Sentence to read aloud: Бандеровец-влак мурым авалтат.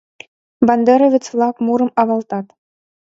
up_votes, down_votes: 2, 0